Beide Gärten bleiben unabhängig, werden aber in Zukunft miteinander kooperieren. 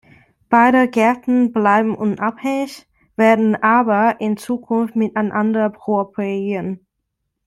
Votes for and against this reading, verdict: 2, 1, accepted